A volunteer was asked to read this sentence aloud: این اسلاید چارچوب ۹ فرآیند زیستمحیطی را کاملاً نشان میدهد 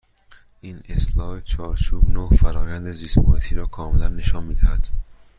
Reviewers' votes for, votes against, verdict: 0, 2, rejected